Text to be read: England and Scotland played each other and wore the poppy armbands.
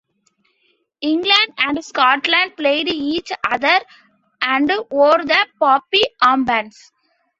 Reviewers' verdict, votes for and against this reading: accepted, 2, 0